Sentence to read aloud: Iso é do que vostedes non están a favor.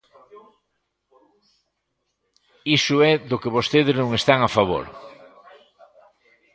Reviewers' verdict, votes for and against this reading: rejected, 0, 2